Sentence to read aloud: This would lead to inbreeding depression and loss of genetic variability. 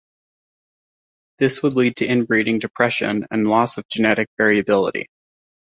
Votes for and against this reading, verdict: 2, 0, accepted